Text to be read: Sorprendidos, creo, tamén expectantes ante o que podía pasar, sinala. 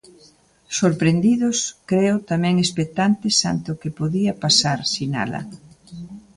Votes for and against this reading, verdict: 2, 0, accepted